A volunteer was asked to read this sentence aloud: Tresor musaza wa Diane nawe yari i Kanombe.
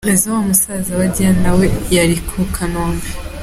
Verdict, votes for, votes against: rejected, 0, 2